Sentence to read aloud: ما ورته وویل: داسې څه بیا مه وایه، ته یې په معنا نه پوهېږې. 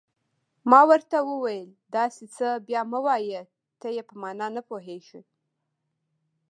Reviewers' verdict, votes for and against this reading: accepted, 2, 0